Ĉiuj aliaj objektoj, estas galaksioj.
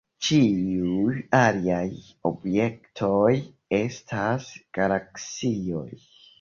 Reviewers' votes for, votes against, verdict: 2, 0, accepted